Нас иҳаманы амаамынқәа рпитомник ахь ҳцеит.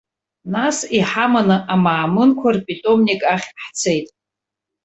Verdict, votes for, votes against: accepted, 2, 0